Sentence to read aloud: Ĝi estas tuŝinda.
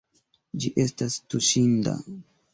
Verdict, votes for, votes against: accepted, 2, 0